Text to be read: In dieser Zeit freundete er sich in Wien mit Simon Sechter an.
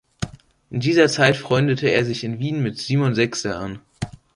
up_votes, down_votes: 0, 2